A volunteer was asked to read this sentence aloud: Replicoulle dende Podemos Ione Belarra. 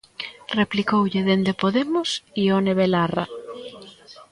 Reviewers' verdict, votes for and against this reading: rejected, 0, 2